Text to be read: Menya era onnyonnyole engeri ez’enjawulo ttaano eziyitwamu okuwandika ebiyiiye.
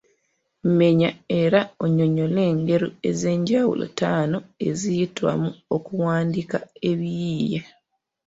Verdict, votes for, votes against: accepted, 2, 0